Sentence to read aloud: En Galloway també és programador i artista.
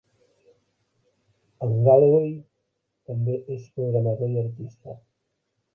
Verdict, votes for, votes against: rejected, 0, 2